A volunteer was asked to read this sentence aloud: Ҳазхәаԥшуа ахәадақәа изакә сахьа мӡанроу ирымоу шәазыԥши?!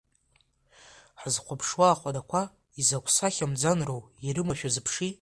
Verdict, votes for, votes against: accepted, 2, 0